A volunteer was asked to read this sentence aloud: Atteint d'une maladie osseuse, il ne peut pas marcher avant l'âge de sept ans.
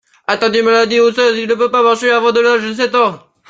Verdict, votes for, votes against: rejected, 1, 2